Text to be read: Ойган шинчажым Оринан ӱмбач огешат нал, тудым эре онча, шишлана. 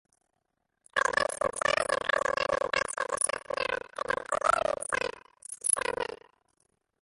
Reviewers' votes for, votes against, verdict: 0, 2, rejected